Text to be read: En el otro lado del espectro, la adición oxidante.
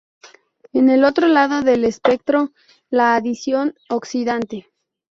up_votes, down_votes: 2, 2